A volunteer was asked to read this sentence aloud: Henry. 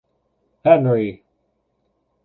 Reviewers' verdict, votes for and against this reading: accepted, 2, 0